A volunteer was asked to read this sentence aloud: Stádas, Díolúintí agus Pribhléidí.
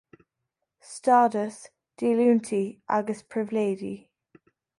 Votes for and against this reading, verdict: 2, 0, accepted